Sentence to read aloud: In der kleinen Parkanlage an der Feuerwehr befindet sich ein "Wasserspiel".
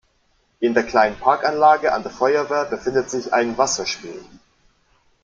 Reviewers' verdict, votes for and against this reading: accepted, 2, 0